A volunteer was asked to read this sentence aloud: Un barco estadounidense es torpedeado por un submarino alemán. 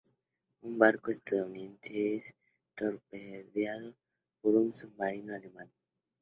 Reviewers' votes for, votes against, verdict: 2, 0, accepted